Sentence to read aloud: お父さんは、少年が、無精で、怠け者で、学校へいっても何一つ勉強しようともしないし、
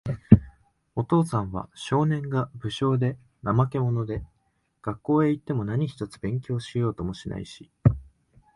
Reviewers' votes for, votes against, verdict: 2, 0, accepted